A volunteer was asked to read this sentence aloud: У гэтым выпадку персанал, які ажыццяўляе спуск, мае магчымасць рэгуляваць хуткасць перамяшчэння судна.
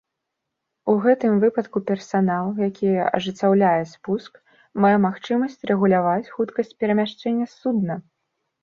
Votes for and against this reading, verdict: 2, 0, accepted